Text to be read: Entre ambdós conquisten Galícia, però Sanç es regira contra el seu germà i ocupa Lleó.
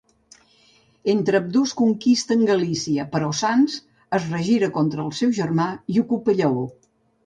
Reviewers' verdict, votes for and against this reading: rejected, 0, 2